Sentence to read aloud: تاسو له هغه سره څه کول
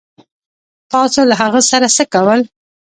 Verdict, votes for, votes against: accepted, 2, 0